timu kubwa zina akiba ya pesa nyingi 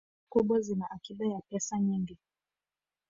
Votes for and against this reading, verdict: 0, 2, rejected